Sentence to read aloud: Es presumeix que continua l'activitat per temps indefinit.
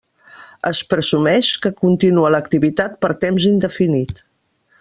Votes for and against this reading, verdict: 1, 2, rejected